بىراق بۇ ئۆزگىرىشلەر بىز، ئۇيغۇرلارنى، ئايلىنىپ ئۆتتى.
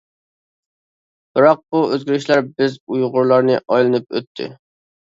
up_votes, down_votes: 2, 0